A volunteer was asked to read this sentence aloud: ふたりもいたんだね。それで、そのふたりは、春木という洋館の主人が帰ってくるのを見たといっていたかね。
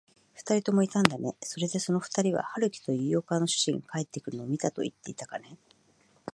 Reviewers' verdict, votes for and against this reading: accepted, 2, 0